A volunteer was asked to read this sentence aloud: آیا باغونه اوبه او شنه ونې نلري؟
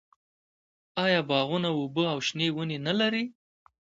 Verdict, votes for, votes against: accepted, 2, 0